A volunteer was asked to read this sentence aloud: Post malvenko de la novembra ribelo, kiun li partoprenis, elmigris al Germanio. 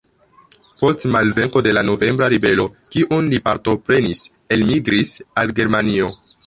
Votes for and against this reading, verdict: 2, 0, accepted